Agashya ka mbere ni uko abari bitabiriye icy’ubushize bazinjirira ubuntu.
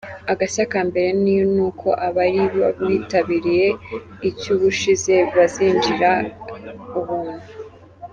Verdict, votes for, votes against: accepted, 2, 1